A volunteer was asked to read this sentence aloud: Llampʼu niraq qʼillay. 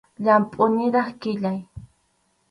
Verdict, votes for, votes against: rejected, 2, 2